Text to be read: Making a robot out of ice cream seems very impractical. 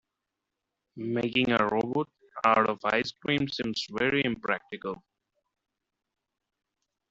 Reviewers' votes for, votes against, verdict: 1, 2, rejected